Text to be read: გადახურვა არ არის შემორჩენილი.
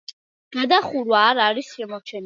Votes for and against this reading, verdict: 2, 0, accepted